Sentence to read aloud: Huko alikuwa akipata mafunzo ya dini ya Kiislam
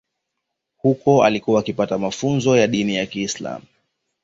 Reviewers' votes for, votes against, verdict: 2, 0, accepted